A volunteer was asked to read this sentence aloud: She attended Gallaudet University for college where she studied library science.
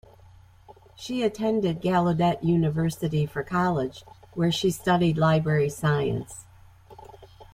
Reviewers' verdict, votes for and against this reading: accepted, 2, 0